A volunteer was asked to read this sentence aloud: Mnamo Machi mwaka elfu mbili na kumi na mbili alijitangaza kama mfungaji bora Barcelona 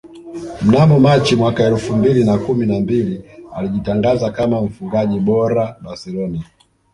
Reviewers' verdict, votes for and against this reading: accepted, 2, 1